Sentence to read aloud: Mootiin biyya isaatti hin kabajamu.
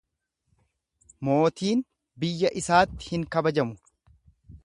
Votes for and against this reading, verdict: 2, 0, accepted